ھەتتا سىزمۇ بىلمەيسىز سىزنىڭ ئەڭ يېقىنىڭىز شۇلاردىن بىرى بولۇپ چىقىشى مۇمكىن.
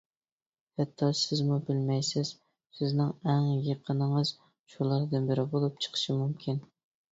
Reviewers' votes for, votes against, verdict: 2, 0, accepted